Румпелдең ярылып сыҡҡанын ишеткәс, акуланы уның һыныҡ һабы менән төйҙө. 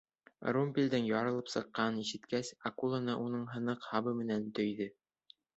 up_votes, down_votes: 2, 0